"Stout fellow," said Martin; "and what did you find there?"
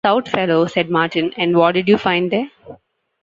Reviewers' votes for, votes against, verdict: 1, 2, rejected